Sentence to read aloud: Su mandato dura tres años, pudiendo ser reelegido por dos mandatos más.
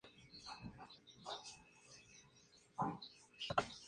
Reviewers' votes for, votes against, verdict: 0, 4, rejected